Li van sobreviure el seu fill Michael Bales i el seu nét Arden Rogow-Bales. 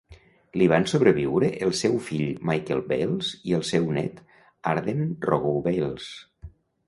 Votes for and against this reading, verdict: 1, 2, rejected